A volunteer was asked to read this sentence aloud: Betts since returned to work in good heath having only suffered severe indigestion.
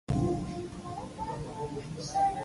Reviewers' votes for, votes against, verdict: 0, 2, rejected